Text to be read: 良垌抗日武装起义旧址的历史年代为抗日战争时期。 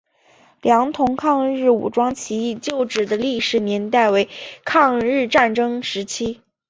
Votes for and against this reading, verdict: 2, 0, accepted